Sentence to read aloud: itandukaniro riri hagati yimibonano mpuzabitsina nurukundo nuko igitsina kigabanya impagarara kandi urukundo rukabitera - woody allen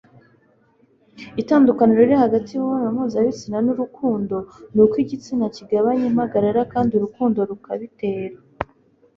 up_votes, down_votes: 1, 2